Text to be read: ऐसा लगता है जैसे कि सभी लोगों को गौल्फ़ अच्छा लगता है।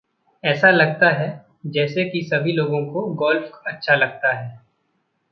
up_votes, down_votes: 2, 0